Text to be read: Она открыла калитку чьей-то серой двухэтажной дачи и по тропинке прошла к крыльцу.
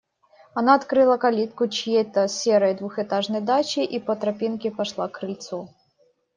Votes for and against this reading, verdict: 1, 2, rejected